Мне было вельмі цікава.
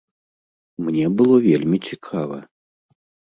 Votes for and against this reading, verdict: 2, 0, accepted